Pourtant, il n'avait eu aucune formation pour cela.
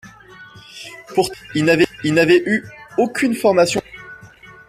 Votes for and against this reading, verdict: 0, 2, rejected